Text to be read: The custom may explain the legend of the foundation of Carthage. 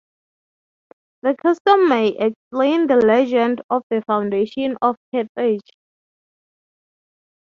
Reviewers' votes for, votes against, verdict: 6, 3, accepted